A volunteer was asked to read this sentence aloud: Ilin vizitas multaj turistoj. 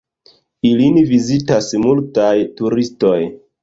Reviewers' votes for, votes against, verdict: 1, 2, rejected